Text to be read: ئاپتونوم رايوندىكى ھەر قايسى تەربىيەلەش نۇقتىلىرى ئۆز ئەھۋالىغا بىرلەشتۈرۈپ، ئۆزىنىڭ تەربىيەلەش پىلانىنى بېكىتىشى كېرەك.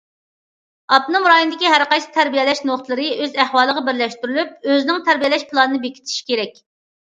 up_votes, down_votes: 0, 2